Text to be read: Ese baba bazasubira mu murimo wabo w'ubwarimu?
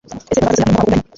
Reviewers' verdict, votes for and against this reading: rejected, 0, 2